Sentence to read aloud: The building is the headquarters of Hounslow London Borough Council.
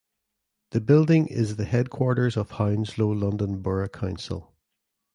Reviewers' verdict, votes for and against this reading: accepted, 2, 0